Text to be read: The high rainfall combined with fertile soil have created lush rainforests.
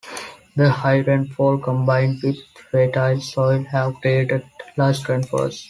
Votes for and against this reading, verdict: 2, 3, rejected